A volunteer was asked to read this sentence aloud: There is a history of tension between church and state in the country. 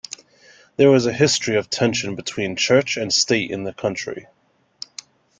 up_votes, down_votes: 1, 2